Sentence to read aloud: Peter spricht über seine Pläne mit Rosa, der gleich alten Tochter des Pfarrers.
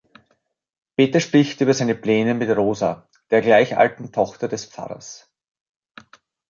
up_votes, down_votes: 2, 0